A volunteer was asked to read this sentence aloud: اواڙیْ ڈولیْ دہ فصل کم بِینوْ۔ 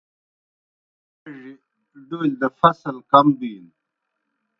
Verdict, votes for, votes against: rejected, 0, 2